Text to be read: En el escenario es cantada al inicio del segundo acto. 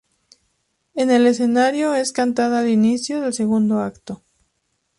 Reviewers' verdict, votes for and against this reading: accepted, 2, 0